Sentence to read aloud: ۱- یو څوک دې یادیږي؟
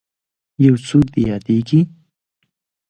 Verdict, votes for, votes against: rejected, 0, 2